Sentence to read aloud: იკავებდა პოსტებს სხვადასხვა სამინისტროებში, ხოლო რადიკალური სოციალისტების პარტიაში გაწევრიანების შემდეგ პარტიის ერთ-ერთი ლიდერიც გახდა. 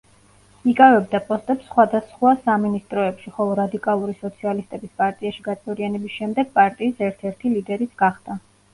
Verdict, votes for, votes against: accepted, 2, 0